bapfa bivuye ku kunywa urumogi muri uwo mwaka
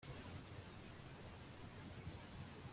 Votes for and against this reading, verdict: 1, 2, rejected